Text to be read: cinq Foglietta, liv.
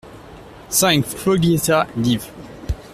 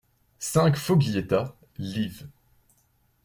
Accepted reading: second